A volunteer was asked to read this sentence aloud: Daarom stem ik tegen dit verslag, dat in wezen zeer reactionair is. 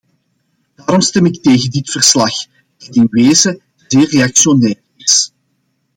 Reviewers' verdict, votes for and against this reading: rejected, 1, 2